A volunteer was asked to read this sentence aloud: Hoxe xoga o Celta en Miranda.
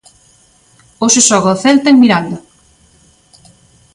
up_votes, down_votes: 2, 0